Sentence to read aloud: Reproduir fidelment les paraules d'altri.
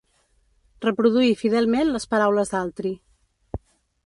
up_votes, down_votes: 2, 0